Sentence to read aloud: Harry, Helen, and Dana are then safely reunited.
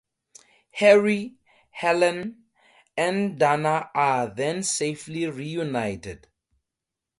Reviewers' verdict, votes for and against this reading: accepted, 2, 0